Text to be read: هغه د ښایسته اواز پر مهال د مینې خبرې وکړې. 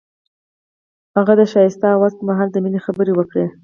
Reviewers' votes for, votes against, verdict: 4, 0, accepted